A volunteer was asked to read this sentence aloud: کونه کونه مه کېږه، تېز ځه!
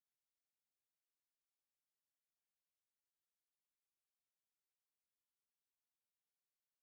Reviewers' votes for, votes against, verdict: 0, 2, rejected